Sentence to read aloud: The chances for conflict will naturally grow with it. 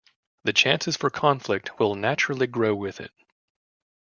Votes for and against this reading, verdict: 2, 0, accepted